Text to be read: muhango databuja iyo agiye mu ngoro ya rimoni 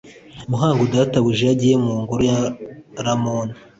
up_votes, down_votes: 0, 2